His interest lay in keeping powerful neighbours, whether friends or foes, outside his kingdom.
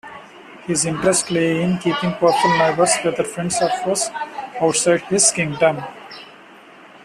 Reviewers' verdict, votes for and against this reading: rejected, 0, 2